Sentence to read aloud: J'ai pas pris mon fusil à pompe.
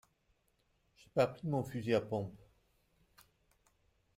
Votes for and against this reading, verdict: 2, 0, accepted